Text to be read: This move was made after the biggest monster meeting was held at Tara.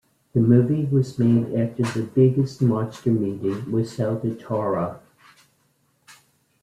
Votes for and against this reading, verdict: 0, 2, rejected